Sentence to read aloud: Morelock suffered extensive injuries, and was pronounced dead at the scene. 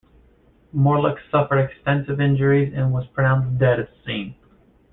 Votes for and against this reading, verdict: 0, 2, rejected